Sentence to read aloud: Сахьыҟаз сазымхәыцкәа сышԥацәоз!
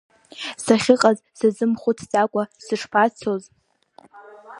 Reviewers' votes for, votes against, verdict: 0, 2, rejected